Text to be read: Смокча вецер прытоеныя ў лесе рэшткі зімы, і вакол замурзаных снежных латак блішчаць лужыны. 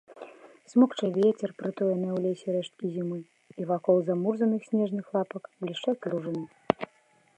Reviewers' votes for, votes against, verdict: 1, 2, rejected